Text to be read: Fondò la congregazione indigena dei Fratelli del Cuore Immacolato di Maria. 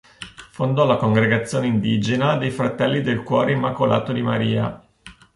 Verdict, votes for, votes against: accepted, 2, 0